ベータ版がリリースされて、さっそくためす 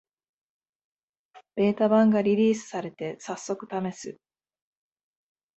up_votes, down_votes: 4, 0